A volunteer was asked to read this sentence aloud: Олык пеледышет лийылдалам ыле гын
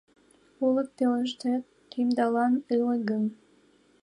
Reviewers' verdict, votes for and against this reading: rejected, 1, 2